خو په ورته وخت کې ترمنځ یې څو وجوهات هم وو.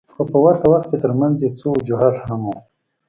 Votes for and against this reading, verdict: 2, 0, accepted